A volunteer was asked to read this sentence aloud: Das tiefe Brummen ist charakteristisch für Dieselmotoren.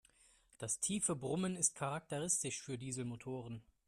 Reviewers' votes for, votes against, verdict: 2, 0, accepted